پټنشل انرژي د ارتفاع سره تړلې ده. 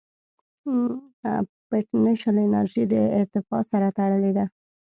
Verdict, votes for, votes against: rejected, 1, 2